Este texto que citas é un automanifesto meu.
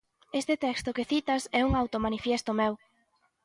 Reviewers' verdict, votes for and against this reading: rejected, 0, 2